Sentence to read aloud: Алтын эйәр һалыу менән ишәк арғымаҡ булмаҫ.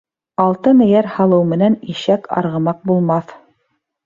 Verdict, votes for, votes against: accepted, 2, 0